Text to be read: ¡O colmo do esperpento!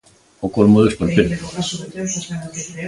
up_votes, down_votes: 2, 0